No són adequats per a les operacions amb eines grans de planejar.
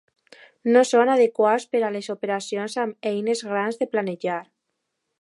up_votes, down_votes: 2, 0